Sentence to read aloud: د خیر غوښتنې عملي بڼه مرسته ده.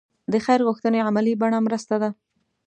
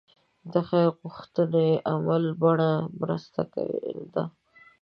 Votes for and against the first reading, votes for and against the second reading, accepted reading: 2, 0, 1, 2, first